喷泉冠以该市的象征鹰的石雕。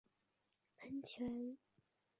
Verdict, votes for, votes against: rejected, 0, 3